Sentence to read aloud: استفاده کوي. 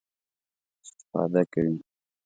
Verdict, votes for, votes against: accepted, 2, 0